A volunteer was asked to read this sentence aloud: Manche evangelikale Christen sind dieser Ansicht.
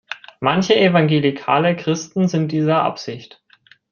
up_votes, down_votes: 0, 2